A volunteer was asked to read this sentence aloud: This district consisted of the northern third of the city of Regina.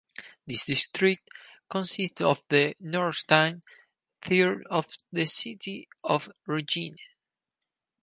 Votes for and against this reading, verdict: 2, 4, rejected